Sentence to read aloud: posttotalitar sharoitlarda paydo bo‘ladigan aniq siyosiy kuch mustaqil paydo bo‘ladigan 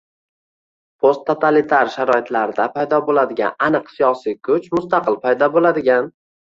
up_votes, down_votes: 2, 1